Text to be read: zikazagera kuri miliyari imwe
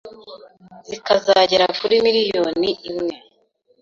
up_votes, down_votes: 1, 2